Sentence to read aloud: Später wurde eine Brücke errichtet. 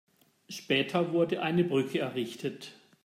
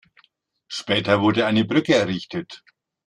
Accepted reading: first